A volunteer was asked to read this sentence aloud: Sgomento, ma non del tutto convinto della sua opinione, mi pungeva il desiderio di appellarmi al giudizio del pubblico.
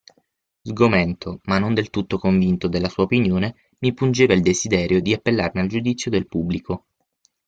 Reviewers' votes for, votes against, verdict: 6, 0, accepted